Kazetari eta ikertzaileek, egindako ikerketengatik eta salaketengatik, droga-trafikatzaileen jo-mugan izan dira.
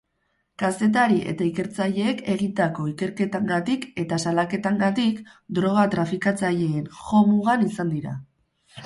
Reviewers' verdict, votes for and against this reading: rejected, 0, 4